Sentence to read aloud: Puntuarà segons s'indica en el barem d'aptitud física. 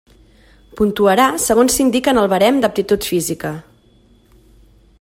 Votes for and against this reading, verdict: 2, 0, accepted